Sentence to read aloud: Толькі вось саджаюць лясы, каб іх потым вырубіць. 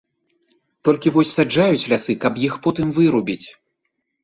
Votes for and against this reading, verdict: 2, 0, accepted